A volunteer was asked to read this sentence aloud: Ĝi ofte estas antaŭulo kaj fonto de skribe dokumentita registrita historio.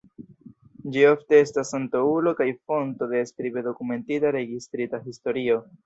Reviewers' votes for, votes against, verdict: 1, 2, rejected